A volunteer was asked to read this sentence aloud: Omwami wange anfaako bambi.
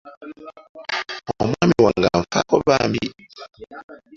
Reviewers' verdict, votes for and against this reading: rejected, 1, 2